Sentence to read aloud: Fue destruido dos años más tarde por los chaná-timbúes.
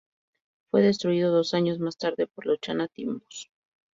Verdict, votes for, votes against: accepted, 2, 0